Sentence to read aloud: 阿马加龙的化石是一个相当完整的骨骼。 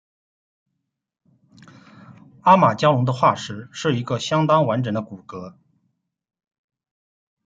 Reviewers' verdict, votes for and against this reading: accepted, 2, 0